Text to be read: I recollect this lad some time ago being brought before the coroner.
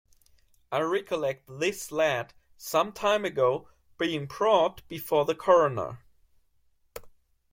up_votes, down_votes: 2, 1